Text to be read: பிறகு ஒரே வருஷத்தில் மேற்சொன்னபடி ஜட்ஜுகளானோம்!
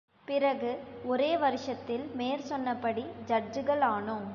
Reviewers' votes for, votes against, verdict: 2, 0, accepted